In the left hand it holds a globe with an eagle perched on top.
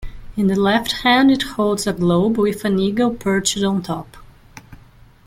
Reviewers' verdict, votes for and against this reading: accepted, 2, 1